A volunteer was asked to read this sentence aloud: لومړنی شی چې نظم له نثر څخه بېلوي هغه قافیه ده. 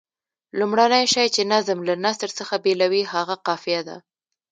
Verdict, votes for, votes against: accepted, 2, 0